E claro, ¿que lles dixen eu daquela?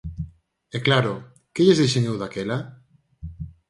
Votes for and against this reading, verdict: 4, 0, accepted